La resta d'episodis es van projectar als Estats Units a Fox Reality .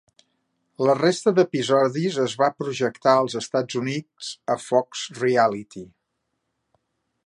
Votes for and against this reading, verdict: 1, 2, rejected